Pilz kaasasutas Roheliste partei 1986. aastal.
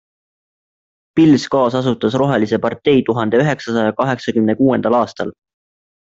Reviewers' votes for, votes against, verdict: 0, 2, rejected